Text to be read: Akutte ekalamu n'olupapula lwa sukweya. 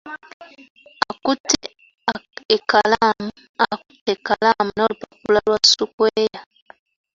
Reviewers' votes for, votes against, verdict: 1, 2, rejected